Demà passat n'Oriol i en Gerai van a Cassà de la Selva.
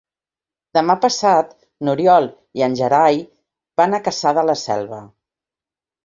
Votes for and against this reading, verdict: 3, 0, accepted